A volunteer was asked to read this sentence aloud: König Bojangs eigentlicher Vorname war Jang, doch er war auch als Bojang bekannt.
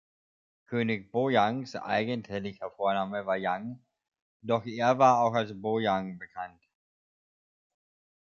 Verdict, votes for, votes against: rejected, 1, 2